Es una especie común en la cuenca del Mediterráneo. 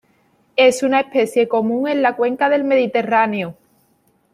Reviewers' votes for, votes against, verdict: 2, 0, accepted